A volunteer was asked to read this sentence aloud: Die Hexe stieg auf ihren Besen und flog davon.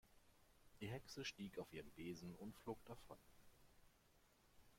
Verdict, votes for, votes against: rejected, 1, 2